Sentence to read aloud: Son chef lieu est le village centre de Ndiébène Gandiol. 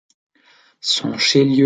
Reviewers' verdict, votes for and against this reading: rejected, 0, 3